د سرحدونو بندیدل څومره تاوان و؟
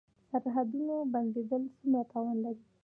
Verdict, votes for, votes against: accepted, 2, 0